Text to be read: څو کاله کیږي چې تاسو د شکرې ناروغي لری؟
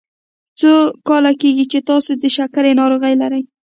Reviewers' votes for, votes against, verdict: 2, 0, accepted